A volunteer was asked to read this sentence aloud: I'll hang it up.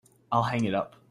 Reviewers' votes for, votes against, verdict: 2, 0, accepted